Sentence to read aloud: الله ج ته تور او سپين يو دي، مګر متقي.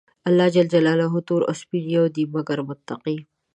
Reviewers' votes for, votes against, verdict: 1, 2, rejected